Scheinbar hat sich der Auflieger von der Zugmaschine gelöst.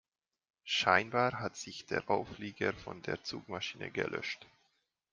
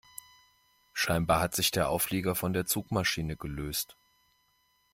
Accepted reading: second